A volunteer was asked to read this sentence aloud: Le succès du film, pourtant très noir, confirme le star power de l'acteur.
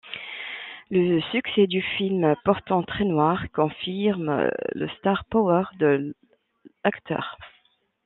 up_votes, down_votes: 0, 2